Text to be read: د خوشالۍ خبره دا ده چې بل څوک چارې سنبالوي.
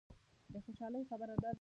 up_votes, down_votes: 0, 2